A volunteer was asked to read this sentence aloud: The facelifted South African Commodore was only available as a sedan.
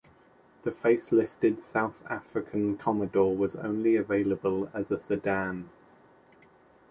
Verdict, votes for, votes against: accepted, 2, 0